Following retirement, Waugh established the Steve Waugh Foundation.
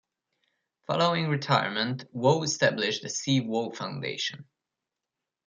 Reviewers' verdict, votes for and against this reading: rejected, 1, 2